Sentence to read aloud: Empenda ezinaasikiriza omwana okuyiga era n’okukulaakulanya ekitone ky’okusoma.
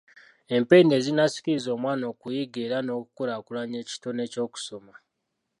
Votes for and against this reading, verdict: 2, 0, accepted